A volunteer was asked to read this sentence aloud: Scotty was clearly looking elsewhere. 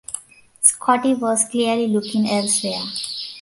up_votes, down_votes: 3, 0